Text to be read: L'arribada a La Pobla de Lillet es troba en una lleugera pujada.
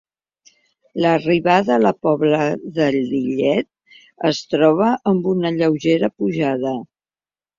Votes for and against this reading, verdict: 0, 2, rejected